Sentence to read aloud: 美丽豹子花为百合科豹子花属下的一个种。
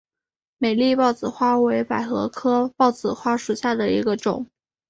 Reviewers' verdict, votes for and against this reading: accepted, 2, 0